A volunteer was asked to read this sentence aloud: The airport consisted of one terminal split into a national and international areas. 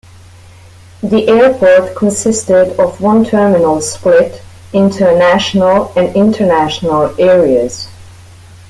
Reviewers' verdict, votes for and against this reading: rejected, 0, 2